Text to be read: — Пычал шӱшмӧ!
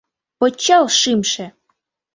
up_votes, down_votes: 1, 2